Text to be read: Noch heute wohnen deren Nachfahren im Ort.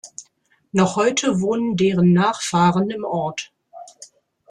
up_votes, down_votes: 2, 0